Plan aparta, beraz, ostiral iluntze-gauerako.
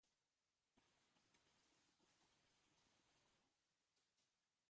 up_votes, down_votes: 1, 2